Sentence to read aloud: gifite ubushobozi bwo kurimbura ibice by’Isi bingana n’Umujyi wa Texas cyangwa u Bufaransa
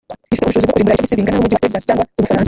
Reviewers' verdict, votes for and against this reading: rejected, 0, 2